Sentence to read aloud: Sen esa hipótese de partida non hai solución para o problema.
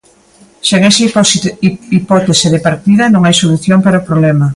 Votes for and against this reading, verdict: 0, 2, rejected